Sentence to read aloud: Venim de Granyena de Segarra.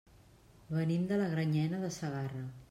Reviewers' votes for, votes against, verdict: 1, 2, rejected